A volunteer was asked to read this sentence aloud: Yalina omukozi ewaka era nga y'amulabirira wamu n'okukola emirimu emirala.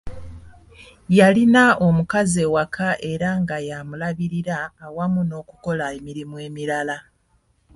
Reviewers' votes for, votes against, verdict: 1, 2, rejected